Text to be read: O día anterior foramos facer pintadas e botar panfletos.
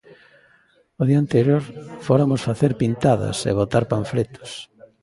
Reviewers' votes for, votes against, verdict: 1, 2, rejected